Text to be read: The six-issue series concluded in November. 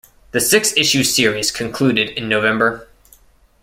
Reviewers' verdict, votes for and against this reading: accepted, 2, 0